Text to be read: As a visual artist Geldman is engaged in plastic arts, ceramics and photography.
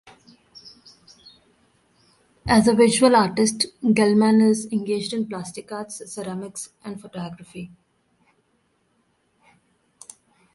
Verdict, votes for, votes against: accepted, 2, 0